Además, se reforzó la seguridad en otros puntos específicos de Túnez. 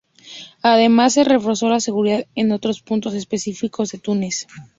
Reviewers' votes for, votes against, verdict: 2, 0, accepted